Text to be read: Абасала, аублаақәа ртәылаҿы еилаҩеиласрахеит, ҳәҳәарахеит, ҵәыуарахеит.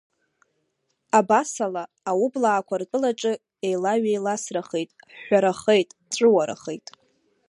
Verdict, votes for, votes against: rejected, 0, 2